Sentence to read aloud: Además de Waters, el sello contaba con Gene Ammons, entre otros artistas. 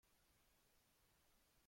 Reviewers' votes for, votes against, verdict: 0, 2, rejected